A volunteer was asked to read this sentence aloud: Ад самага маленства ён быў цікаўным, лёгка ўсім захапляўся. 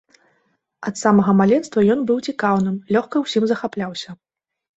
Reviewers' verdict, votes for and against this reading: accepted, 2, 0